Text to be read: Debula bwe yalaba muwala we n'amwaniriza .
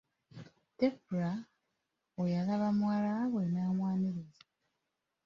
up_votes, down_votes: 0, 2